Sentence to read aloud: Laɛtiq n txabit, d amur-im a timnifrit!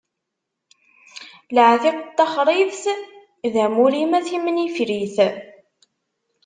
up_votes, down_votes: 1, 2